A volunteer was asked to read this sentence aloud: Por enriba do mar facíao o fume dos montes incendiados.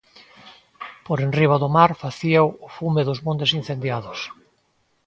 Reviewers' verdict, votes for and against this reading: accepted, 2, 0